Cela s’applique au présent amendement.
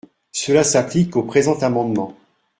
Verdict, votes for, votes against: accepted, 2, 0